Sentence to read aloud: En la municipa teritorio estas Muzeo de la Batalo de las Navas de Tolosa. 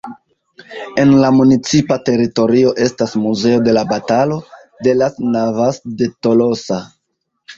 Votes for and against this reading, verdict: 1, 2, rejected